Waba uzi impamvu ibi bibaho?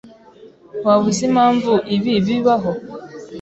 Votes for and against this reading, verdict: 2, 0, accepted